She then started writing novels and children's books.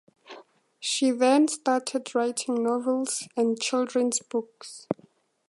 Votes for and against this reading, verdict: 2, 0, accepted